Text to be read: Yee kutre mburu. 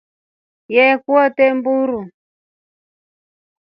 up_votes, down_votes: 1, 2